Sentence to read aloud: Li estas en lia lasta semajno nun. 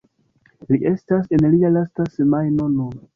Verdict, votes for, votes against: accepted, 2, 0